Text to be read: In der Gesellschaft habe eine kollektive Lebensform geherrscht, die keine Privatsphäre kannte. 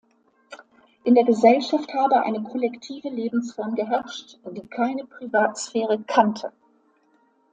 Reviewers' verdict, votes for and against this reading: accepted, 2, 0